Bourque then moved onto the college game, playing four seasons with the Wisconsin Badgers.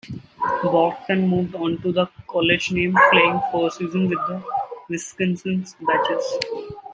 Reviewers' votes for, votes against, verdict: 1, 2, rejected